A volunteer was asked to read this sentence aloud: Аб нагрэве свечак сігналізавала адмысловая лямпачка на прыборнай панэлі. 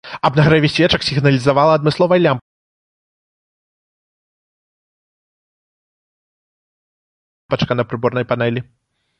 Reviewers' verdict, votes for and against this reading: rejected, 0, 2